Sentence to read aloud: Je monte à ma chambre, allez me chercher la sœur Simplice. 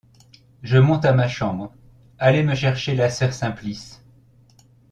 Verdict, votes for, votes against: accepted, 2, 0